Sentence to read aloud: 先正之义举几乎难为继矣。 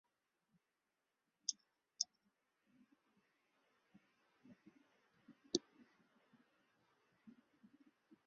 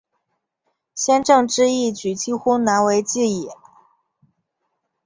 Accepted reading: second